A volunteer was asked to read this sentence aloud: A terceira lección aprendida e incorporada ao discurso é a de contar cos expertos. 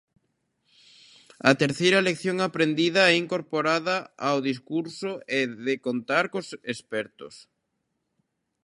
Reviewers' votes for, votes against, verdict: 0, 2, rejected